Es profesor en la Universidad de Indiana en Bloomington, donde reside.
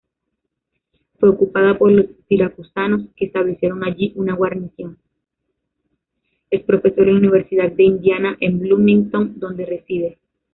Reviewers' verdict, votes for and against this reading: rejected, 1, 2